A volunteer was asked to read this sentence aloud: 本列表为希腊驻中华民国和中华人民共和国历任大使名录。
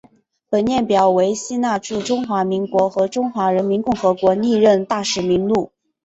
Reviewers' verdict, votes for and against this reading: accepted, 6, 0